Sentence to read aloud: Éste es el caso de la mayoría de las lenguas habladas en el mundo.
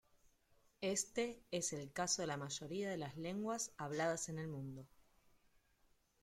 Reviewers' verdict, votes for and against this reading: accepted, 2, 0